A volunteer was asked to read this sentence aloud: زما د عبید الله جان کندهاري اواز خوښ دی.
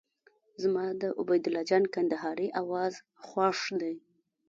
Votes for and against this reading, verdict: 1, 3, rejected